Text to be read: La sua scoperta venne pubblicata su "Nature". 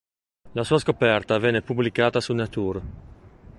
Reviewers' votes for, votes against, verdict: 1, 2, rejected